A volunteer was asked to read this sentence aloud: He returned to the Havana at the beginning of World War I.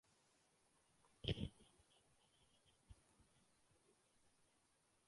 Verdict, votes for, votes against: rejected, 0, 2